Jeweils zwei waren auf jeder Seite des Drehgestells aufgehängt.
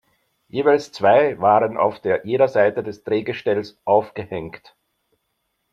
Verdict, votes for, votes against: rejected, 0, 2